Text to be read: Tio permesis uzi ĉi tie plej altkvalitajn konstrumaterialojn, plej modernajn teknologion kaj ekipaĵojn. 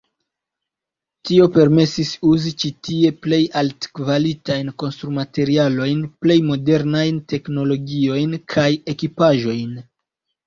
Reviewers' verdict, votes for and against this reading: rejected, 2, 4